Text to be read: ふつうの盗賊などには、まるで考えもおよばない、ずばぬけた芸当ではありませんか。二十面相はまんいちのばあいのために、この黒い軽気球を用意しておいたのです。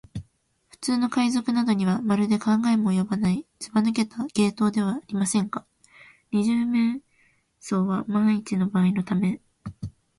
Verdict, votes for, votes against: rejected, 1, 3